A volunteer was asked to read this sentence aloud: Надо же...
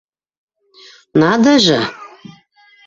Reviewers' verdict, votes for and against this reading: accepted, 2, 1